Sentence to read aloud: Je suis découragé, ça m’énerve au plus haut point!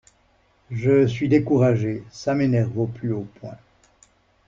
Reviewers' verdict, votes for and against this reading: accepted, 2, 0